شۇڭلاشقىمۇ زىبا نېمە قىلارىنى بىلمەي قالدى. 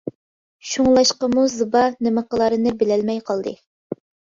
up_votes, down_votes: 2, 0